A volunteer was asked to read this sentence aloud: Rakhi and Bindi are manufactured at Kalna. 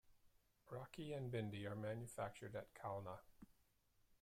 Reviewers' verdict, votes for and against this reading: rejected, 1, 2